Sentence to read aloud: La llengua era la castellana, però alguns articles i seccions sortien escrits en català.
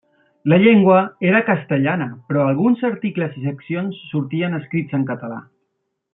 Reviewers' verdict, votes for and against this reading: rejected, 1, 2